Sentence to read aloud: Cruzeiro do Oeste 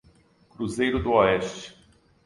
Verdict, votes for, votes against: accepted, 2, 0